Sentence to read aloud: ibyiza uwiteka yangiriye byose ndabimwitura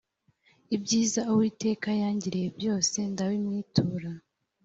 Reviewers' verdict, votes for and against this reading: accepted, 4, 0